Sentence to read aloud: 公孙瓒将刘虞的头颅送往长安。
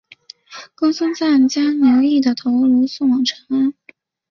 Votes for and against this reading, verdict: 3, 0, accepted